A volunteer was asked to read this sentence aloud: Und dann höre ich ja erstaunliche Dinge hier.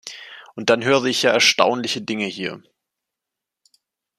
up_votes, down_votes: 2, 0